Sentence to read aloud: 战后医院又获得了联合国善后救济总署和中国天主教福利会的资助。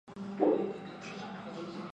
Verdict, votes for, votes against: rejected, 0, 3